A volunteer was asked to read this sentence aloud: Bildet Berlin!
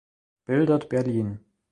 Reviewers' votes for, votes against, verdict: 2, 1, accepted